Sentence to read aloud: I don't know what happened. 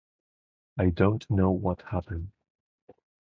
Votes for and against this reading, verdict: 2, 2, rejected